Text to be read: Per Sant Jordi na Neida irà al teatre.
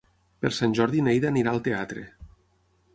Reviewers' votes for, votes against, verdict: 0, 6, rejected